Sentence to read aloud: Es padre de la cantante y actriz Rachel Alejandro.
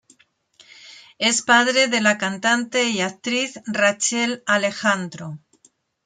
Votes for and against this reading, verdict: 2, 0, accepted